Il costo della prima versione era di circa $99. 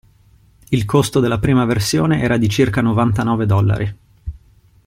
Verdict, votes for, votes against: rejected, 0, 2